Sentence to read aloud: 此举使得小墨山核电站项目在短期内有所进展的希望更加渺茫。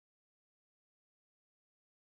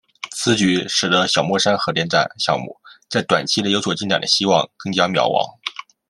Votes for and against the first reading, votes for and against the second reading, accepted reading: 0, 2, 2, 0, second